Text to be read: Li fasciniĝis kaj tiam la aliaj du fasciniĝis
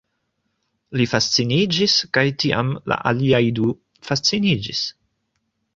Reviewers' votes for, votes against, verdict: 2, 0, accepted